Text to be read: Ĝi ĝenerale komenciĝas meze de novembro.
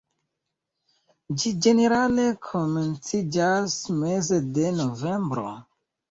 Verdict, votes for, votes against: rejected, 0, 2